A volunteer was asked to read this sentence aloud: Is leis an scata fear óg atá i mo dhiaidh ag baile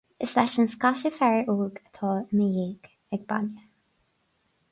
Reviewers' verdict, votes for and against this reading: accepted, 4, 2